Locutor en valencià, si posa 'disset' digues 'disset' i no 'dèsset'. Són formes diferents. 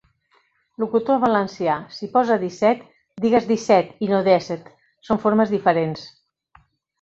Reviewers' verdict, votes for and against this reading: rejected, 0, 2